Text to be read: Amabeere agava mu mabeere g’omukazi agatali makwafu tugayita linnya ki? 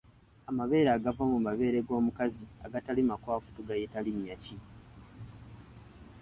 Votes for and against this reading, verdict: 2, 0, accepted